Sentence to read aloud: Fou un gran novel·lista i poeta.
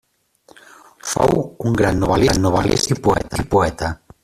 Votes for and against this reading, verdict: 0, 2, rejected